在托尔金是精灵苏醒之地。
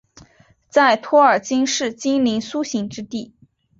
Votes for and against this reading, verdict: 2, 0, accepted